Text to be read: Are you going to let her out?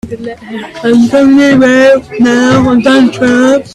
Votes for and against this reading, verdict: 0, 2, rejected